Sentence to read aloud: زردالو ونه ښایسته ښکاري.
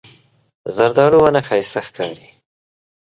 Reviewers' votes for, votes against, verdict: 2, 0, accepted